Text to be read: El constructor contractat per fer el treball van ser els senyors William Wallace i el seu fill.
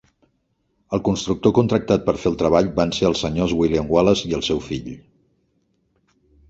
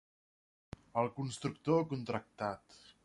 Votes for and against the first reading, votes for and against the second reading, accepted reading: 4, 0, 0, 2, first